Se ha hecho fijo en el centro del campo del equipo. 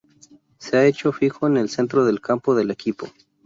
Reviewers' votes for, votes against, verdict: 0, 2, rejected